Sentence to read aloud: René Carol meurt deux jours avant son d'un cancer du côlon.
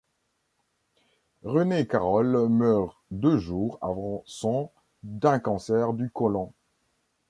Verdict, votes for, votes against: accepted, 2, 0